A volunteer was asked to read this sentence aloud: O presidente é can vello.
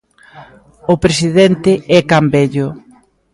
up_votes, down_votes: 2, 0